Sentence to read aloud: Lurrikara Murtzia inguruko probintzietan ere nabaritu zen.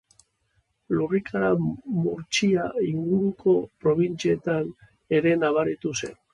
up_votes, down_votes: 0, 2